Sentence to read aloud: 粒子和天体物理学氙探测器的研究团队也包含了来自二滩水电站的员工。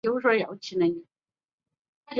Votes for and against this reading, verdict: 0, 4, rejected